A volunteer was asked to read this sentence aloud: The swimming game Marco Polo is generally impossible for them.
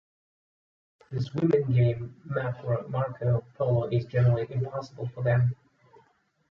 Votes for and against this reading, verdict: 0, 2, rejected